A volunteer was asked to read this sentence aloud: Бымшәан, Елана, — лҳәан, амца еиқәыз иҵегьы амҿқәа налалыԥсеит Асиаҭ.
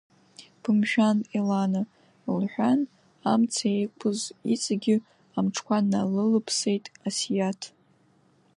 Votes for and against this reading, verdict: 1, 2, rejected